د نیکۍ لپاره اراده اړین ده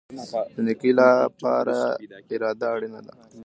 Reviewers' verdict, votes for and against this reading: rejected, 2, 3